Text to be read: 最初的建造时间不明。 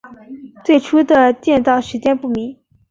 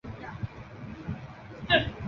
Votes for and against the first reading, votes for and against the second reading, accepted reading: 3, 0, 0, 2, first